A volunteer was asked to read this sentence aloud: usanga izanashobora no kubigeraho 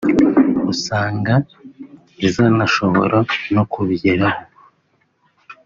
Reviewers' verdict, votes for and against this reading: accepted, 2, 0